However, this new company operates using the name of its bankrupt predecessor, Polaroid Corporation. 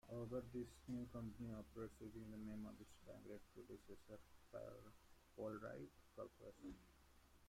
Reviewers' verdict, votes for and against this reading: rejected, 0, 2